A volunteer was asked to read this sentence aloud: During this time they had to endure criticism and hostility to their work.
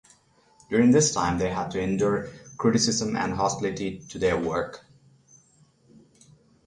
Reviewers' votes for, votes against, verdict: 3, 3, rejected